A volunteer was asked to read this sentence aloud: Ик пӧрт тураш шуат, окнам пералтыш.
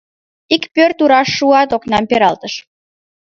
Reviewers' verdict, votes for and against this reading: accepted, 2, 0